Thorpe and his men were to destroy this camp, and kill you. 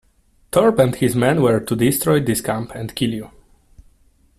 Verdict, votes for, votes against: rejected, 1, 2